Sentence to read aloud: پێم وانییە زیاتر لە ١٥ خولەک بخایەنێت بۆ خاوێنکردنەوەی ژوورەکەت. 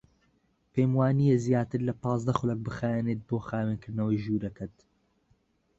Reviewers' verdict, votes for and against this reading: rejected, 0, 2